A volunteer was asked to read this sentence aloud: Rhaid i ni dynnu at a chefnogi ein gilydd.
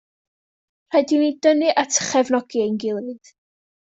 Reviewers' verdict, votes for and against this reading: rejected, 0, 2